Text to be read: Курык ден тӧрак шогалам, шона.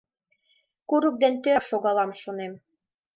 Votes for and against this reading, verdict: 0, 2, rejected